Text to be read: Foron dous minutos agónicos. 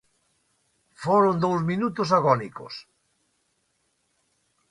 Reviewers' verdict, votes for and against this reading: accepted, 2, 0